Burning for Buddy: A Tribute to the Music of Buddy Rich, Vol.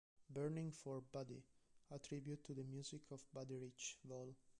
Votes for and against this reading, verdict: 0, 2, rejected